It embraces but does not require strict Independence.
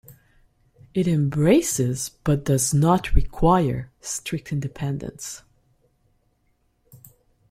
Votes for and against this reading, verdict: 2, 0, accepted